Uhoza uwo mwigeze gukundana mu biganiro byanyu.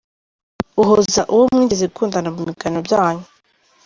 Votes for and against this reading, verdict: 1, 2, rejected